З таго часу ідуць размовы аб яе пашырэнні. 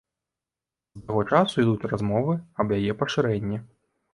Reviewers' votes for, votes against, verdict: 0, 2, rejected